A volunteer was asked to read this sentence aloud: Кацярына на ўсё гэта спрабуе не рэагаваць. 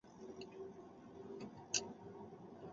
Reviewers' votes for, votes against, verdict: 0, 2, rejected